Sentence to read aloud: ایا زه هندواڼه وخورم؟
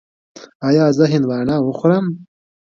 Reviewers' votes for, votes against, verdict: 2, 0, accepted